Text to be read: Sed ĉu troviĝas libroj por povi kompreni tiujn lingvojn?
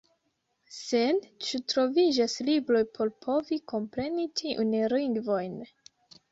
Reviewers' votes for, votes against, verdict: 0, 2, rejected